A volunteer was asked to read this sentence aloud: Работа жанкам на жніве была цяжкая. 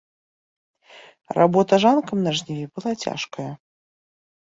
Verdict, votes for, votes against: rejected, 0, 2